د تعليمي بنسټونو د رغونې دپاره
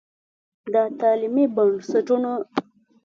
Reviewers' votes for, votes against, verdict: 1, 2, rejected